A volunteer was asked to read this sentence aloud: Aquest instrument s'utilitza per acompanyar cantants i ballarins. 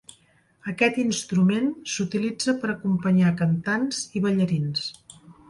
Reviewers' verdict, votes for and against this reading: accepted, 3, 0